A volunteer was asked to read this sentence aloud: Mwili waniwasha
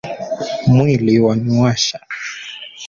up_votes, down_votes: 2, 1